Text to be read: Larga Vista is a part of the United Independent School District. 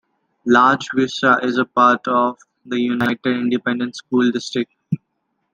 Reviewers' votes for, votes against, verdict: 2, 1, accepted